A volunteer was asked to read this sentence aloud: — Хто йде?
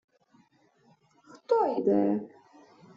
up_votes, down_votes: 1, 2